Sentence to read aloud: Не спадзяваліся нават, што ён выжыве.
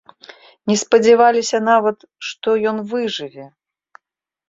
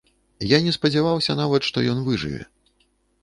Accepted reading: first